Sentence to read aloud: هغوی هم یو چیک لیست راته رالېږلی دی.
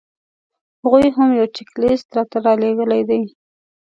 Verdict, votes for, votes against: accepted, 2, 0